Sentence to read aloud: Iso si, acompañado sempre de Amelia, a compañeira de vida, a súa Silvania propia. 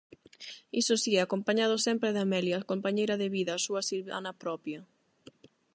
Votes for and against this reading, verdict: 0, 8, rejected